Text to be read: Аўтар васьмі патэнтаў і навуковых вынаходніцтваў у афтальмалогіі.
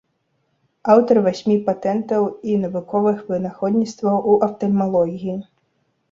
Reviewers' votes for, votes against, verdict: 2, 0, accepted